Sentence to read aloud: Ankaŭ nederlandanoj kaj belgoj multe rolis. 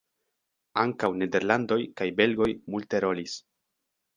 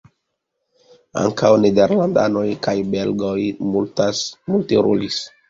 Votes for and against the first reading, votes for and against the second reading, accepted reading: 1, 2, 2, 0, second